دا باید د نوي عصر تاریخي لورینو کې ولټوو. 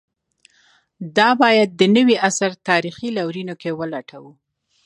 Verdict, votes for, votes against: accepted, 2, 0